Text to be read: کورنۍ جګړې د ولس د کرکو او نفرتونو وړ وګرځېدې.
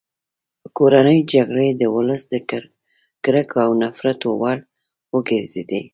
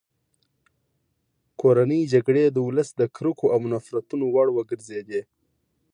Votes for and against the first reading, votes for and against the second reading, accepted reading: 0, 2, 2, 0, second